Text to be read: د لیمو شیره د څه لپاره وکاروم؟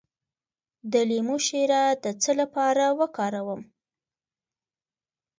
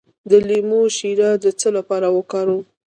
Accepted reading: first